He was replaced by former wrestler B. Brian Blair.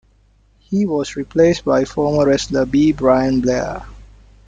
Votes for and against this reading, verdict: 2, 0, accepted